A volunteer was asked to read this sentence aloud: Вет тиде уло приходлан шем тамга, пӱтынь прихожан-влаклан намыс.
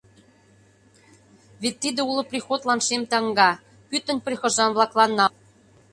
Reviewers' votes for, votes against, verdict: 0, 2, rejected